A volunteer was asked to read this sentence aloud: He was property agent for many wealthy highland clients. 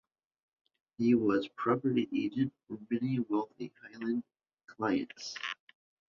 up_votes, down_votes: 1, 2